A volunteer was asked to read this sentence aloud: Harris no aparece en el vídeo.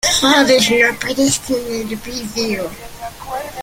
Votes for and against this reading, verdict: 0, 2, rejected